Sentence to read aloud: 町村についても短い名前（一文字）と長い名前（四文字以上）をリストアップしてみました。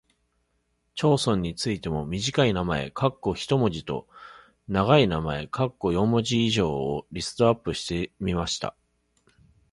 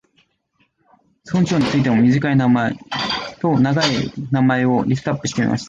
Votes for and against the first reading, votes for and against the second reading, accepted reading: 2, 0, 0, 2, first